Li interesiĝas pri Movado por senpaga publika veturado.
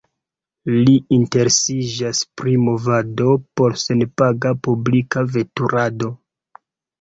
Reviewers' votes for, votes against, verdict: 0, 2, rejected